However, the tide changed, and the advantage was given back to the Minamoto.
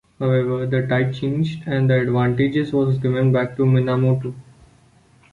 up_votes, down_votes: 1, 2